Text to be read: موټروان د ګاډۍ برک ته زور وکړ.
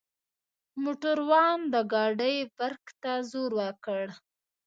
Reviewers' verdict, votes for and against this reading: rejected, 0, 2